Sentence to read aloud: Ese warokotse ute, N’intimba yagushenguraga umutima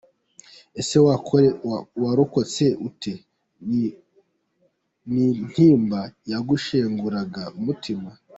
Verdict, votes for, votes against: rejected, 1, 2